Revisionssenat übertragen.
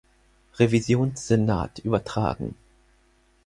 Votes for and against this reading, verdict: 4, 0, accepted